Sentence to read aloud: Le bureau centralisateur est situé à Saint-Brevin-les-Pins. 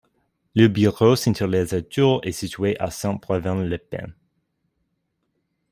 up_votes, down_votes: 0, 2